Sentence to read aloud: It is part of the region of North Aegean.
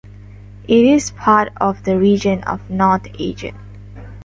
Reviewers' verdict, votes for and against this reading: accepted, 2, 1